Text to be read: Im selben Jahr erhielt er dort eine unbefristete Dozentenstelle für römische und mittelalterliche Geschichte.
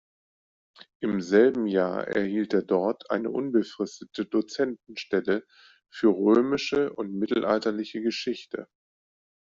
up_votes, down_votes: 2, 0